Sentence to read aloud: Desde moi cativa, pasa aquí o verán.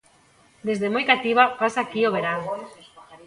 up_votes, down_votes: 0, 2